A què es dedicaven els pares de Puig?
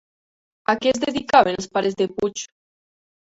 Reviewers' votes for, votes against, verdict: 1, 2, rejected